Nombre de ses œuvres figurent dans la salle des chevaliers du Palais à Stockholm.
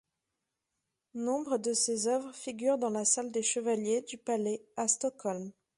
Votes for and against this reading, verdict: 2, 0, accepted